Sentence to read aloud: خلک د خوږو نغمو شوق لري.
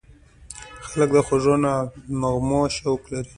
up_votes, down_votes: 2, 1